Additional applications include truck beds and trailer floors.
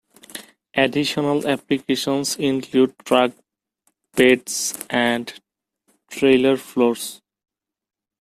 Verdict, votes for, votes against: accepted, 2, 0